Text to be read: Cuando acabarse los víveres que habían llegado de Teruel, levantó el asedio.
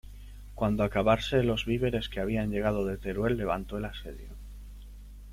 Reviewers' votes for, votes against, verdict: 2, 0, accepted